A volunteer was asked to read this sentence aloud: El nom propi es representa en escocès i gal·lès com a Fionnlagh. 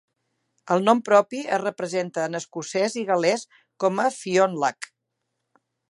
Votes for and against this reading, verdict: 1, 2, rejected